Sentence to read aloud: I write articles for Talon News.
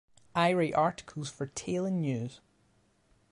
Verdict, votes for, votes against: accepted, 2, 1